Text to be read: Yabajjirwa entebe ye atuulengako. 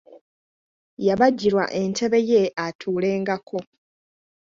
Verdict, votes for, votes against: accepted, 2, 0